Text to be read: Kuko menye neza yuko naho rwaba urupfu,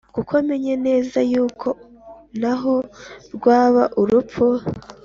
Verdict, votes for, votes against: accepted, 2, 0